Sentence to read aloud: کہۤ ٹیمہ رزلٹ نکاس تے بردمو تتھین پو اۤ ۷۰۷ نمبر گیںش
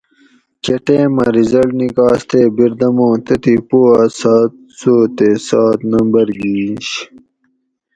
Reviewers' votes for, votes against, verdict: 0, 2, rejected